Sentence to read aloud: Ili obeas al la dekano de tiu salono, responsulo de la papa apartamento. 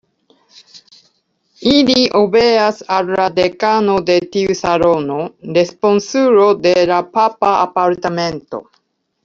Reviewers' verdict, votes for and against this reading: accepted, 2, 1